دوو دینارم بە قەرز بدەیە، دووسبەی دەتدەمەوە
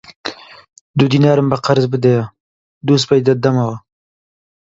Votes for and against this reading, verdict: 2, 0, accepted